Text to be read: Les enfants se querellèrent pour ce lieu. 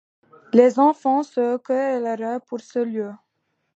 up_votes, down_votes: 1, 2